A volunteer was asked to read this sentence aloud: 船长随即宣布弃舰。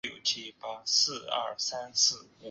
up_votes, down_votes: 1, 3